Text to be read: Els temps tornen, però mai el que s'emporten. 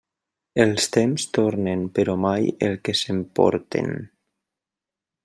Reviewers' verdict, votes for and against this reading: accepted, 3, 0